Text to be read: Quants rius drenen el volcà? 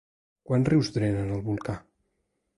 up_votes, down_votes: 2, 0